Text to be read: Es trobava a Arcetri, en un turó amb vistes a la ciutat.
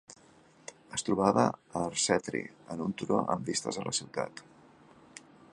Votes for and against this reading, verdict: 1, 2, rejected